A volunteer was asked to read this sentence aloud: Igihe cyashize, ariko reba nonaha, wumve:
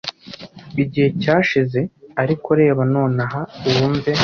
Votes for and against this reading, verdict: 0, 2, rejected